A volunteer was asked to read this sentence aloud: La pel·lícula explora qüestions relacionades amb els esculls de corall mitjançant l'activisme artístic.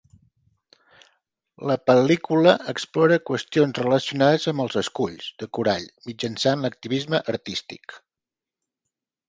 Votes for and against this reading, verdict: 3, 0, accepted